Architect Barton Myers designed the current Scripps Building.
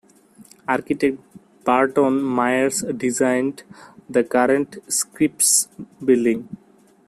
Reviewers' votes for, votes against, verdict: 0, 2, rejected